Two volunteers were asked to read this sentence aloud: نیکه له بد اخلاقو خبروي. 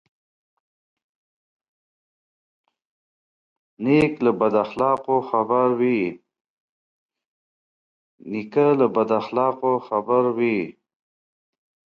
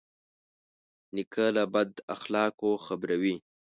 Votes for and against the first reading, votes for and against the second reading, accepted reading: 0, 2, 2, 0, second